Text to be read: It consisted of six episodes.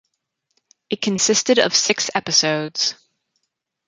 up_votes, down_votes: 4, 0